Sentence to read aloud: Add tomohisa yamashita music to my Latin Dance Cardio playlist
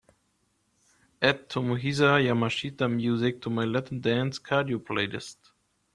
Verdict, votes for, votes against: accepted, 3, 1